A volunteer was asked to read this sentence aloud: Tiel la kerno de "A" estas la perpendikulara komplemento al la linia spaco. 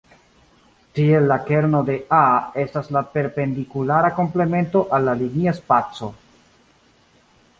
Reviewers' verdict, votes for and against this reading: accepted, 2, 0